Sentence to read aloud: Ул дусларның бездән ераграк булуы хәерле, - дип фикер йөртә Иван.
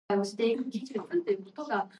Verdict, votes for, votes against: rejected, 0, 2